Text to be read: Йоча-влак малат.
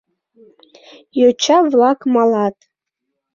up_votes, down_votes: 2, 0